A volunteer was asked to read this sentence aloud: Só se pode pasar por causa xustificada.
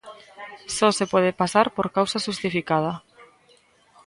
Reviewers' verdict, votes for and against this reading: accepted, 2, 0